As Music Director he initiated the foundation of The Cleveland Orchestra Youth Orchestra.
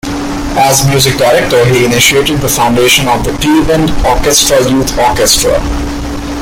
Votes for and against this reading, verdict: 1, 3, rejected